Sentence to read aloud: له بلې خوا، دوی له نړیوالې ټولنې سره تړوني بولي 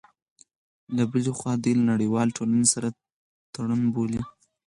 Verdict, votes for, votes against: rejected, 0, 4